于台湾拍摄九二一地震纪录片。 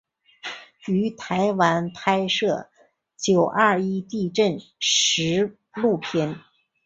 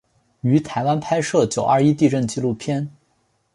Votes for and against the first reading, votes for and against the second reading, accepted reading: 1, 4, 2, 0, second